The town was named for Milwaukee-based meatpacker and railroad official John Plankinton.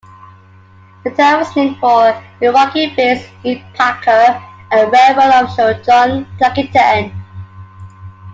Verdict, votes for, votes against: rejected, 1, 2